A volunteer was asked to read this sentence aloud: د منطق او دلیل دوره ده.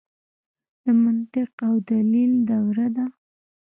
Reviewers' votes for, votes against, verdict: 2, 0, accepted